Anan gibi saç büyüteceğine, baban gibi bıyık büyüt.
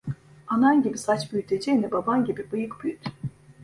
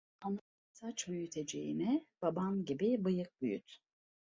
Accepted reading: first